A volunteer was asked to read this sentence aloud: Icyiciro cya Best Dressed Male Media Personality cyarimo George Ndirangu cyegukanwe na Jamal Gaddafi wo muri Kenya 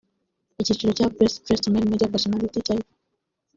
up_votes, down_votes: 0, 2